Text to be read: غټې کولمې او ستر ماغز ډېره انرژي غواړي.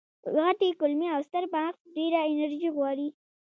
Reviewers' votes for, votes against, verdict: 2, 0, accepted